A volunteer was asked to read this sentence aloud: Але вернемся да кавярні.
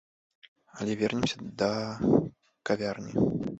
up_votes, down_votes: 1, 2